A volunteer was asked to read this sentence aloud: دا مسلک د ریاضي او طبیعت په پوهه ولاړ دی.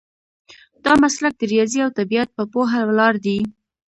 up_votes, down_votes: 2, 0